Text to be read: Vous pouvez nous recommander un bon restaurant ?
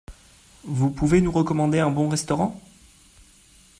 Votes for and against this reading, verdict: 2, 0, accepted